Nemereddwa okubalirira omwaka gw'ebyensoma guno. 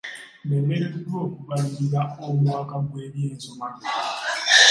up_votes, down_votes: 1, 3